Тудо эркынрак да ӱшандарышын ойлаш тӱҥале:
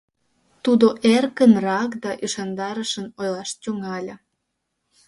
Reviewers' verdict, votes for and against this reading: accepted, 2, 0